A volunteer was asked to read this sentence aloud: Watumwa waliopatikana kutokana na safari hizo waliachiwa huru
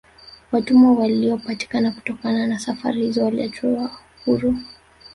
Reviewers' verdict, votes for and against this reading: rejected, 1, 2